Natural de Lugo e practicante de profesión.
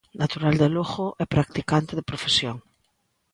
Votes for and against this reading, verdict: 2, 0, accepted